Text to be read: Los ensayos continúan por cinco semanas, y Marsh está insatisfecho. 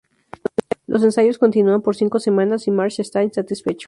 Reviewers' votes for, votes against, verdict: 0, 2, rejected